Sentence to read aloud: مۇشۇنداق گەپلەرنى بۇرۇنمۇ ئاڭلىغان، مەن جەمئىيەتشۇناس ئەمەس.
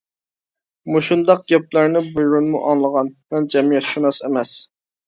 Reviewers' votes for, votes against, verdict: 1, 2, rejected